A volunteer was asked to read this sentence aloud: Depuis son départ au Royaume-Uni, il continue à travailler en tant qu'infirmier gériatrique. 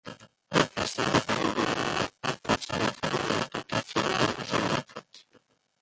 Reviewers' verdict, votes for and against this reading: rejected, 0, 2